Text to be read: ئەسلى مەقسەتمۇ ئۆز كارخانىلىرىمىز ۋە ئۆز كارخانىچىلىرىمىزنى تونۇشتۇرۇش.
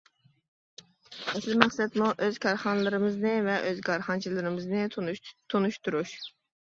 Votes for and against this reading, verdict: 0, 2, rejected